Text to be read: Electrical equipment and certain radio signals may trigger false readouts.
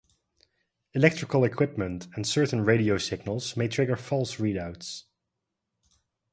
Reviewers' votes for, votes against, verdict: 2, 0, accepted